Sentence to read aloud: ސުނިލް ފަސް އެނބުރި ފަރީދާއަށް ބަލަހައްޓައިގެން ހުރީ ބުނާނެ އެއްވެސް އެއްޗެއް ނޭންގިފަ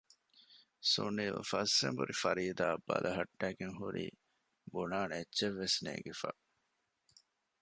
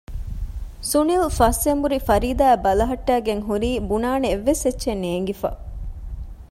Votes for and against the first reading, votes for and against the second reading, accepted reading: 1, 2, 2, 0, second